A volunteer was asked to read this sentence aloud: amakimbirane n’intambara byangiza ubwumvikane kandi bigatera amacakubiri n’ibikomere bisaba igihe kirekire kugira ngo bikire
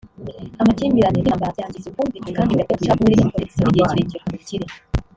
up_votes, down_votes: 0, 3